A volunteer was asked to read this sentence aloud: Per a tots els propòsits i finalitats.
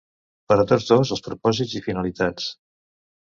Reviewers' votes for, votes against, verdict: 1, 2, rejected